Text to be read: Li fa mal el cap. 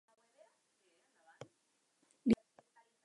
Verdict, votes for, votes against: rejected, 0, 2